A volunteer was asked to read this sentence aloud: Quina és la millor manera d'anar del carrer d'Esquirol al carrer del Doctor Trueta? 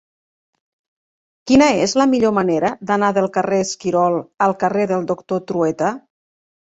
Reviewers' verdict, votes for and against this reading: rejected, 0, 2